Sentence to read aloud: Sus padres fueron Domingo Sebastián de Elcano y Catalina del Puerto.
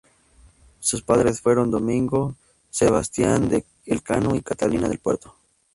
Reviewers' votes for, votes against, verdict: 2, 2, rejected